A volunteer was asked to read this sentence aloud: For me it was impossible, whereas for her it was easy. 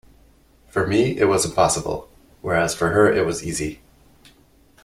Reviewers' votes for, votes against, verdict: 2, 0, accepted